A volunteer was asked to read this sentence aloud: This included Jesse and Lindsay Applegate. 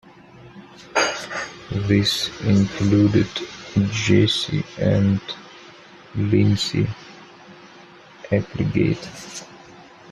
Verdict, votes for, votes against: accepted, 2, 0